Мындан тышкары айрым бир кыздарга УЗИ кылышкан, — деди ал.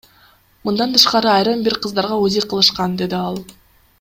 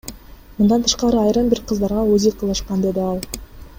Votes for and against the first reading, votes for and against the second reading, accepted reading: 2, 0, 1, 2, first